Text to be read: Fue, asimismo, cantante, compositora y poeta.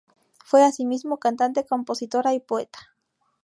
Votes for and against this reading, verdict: 2, 0, accepted